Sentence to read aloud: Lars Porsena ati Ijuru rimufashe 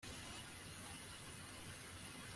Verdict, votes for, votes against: rejected, 0, 2